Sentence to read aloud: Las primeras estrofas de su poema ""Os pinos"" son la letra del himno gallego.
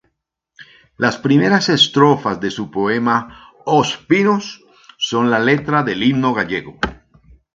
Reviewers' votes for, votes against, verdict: 2, 0, accepted